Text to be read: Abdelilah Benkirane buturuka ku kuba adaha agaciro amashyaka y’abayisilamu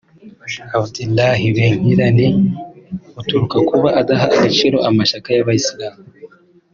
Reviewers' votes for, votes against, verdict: 3, 0, accepted